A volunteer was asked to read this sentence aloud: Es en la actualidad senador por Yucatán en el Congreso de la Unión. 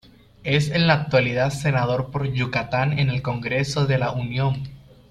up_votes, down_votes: 2, 0